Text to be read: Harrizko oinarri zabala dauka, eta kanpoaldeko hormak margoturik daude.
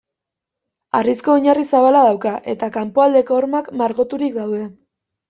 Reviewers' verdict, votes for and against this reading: accepted, 2, 0